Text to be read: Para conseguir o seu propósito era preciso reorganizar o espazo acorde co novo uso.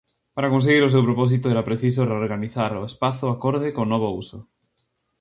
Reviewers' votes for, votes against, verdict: 2, 0, accepted